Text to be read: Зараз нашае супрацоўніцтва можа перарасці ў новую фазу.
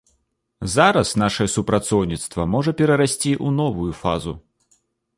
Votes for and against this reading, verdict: 2, 0, accepted